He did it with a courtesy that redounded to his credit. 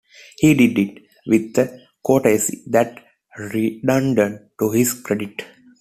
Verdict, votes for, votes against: accepted, 2, 0